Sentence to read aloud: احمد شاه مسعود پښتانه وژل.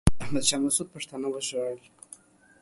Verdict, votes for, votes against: accepted, 2, 0